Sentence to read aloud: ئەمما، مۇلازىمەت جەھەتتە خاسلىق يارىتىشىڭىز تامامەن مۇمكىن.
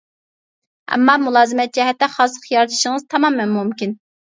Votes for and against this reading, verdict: 2, 0, accepted